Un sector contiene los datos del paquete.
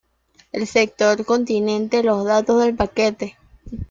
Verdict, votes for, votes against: rejected, 0, 2